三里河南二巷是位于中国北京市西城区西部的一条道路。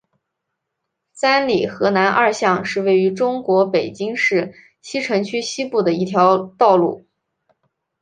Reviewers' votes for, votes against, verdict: 4, 0, accepted